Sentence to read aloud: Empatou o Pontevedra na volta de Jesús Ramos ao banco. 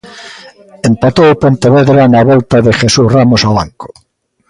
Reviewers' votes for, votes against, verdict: 2, 0, accepted